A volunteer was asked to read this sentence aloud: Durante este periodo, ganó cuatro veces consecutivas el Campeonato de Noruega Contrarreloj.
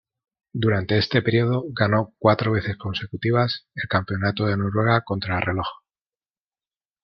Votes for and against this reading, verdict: 2, 0, accepted